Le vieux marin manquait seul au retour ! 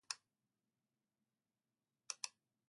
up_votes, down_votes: 0, 2